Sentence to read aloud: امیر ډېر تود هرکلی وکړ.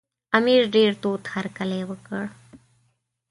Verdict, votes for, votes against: accepted, 2, 0